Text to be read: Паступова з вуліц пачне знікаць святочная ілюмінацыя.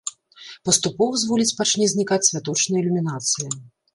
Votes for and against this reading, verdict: 0, 2, rejected